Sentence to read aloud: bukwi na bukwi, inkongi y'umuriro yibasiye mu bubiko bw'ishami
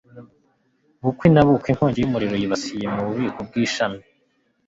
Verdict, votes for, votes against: accepted, 2, 0